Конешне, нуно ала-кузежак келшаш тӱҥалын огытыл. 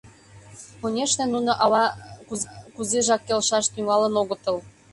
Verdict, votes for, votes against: rejected, 0, 2